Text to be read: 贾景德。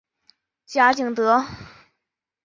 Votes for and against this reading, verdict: 3, 0, accepted